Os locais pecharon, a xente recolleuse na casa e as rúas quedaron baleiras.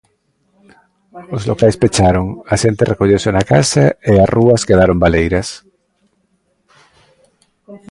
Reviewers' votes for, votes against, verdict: 2, 0, accepted